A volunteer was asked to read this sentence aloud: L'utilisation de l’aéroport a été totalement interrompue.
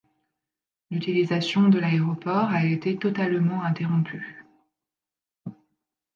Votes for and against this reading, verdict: 2, 0, accepted